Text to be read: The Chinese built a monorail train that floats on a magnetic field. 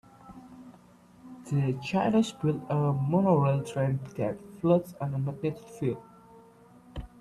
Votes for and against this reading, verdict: 0, 2, rejected